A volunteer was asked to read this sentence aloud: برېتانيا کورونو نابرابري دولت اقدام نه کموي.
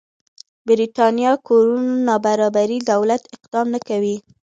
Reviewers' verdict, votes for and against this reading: accepted, 2, 1